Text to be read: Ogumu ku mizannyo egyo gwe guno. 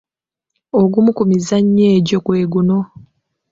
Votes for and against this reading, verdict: 2, 0, accepted